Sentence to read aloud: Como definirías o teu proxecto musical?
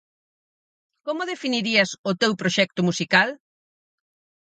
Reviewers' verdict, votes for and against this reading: accepted, 4, 0